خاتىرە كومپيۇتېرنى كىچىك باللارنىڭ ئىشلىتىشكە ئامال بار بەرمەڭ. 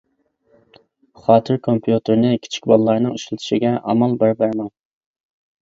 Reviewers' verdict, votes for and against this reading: rejected, 0, 2